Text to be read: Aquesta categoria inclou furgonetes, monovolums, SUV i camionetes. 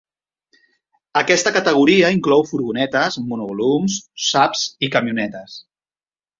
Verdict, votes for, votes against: rejected, 0, 2